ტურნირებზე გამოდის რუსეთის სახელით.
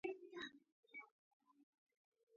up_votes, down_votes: 0, 3